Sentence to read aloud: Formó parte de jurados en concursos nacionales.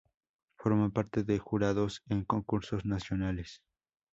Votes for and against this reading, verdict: 4, 0, accepted